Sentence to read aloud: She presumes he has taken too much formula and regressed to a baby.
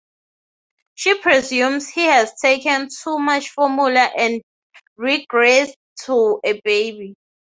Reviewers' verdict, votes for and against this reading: accepted, 3, 0